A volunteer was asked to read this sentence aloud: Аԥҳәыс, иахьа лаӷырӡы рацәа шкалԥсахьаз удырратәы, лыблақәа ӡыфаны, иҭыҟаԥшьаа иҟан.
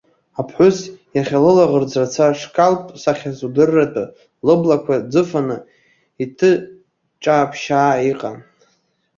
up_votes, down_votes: 0, 2